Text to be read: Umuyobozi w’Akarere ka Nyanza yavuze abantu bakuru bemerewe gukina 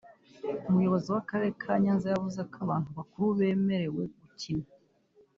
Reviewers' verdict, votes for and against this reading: accepted, 3, 1